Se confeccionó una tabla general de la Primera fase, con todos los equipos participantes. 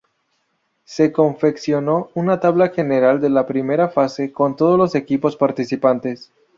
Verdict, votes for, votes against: accepted, 4, 0